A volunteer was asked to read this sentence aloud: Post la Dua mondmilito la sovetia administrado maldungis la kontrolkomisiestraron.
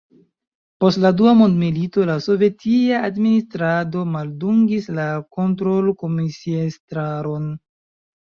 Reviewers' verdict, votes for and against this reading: rejected, 1, 2